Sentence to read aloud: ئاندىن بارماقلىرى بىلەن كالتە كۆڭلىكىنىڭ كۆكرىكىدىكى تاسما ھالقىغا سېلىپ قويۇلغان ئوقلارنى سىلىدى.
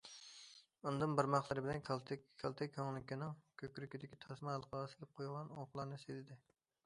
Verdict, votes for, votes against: rejected, 0, 2